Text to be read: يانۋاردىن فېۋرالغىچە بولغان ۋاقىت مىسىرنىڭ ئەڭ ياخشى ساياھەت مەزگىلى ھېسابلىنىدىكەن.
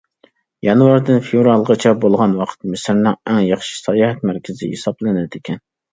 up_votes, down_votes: 1, 2